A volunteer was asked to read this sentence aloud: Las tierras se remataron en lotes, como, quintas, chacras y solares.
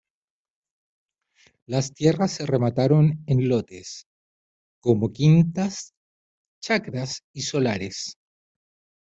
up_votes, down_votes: 2, 0